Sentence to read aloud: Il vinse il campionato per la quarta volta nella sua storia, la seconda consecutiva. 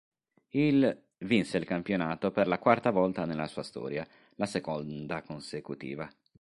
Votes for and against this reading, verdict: 2, 0, accepted